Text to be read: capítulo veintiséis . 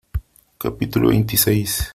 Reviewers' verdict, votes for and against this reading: accepted, 3, 0